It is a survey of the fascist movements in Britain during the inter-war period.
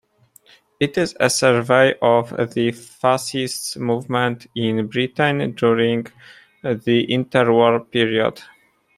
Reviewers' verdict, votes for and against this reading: accepted, 2, 1